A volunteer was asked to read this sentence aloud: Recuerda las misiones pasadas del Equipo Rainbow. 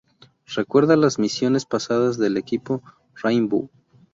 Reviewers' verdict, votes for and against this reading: accepted, 2, 0